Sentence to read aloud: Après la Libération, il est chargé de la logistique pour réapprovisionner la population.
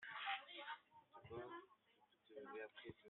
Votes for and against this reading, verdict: 0, 2, rejected